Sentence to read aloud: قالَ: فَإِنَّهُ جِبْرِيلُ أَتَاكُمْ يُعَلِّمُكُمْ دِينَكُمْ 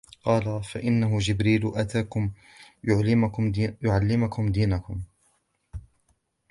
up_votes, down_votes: 1, 2